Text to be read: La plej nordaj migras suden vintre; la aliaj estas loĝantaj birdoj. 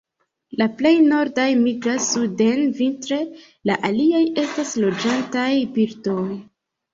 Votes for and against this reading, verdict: 2, 0, accepted